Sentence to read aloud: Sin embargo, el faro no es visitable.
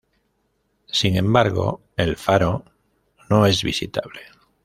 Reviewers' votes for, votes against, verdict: 2, 0, accepted